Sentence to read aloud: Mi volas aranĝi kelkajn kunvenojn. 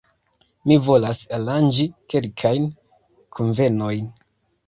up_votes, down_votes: 0, 2